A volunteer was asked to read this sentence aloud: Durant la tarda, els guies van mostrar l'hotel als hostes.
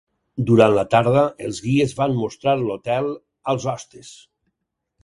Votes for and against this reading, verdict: 4, 0, accepted